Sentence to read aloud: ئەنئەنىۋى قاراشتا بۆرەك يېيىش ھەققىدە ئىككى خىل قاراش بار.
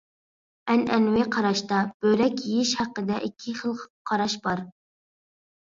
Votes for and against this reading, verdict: 2, 0, accepted